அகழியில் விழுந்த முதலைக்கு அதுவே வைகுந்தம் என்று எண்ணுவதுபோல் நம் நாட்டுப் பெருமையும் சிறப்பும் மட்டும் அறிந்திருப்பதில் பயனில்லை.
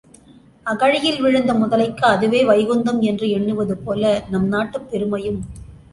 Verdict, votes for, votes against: rejected, 0, 3